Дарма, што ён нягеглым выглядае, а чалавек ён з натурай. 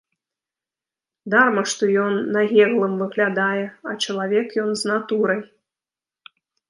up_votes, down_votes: 0, 2